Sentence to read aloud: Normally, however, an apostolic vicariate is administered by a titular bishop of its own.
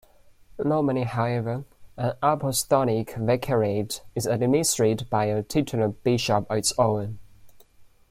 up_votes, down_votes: 2, 1